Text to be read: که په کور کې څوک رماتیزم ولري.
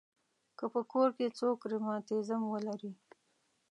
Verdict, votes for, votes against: accepted, 2, 0